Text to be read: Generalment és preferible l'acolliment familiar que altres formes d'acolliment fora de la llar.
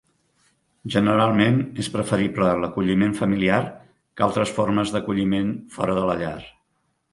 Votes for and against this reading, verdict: 3, 0, accepted